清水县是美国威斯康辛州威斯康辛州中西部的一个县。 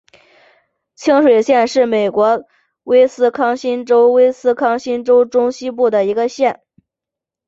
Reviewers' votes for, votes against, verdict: 4, 0, accepted